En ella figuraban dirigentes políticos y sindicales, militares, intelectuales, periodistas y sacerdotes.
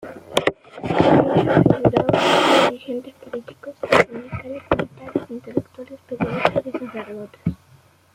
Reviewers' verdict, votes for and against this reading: rejected, 0, 2